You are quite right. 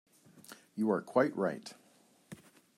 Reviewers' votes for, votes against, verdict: 2, 0, accepted